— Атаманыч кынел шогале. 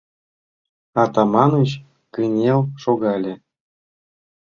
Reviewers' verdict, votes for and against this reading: accepted, 2, 0